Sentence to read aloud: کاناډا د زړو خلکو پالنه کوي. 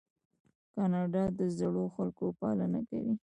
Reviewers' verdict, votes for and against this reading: rejected, 1, 2